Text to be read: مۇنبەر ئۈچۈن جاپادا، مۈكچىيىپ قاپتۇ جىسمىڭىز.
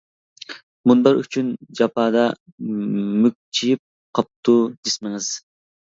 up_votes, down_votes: 2, 0